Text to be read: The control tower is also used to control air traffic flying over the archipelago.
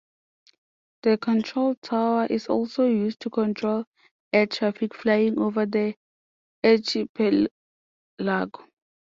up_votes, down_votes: 0, 2